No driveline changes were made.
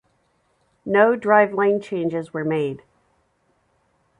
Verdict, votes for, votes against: accepted, 2, 0